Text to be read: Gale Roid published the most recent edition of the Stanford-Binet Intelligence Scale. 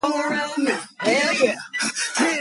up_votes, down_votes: 0, 2